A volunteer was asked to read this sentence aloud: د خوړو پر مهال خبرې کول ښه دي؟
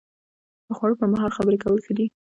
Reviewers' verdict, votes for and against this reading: rejected, 1, 2